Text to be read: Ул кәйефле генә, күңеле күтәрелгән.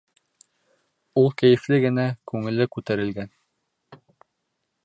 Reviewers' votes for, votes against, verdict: 2, 0, accepted